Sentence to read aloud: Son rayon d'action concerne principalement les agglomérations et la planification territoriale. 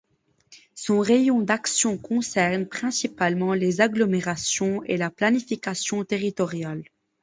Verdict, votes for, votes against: accepted, 2, 0